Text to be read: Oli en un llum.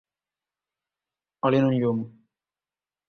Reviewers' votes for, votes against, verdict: 2, 0, accepted